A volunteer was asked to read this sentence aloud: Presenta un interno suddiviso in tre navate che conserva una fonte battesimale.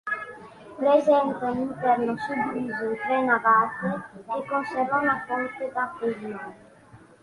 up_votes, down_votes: 3, 0